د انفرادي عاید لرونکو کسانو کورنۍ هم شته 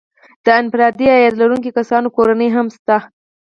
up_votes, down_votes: 6, 4